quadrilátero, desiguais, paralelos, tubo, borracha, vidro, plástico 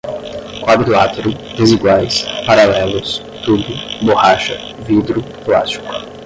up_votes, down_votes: 5, 5